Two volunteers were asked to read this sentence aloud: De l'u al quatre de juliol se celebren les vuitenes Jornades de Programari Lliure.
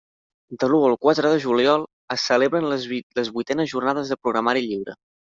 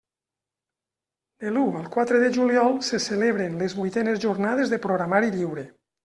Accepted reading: second